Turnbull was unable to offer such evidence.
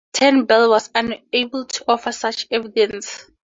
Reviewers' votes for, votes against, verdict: 4, 2, accepted